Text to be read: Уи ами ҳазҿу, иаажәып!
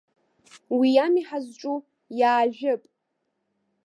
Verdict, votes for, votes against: accepted, 2, 0